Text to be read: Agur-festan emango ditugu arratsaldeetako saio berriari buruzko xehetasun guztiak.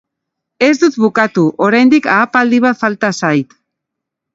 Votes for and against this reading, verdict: 0, 3, rejected